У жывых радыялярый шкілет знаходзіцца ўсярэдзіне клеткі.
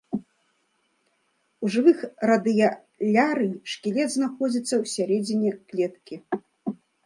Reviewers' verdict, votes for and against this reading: rejected, 1, 2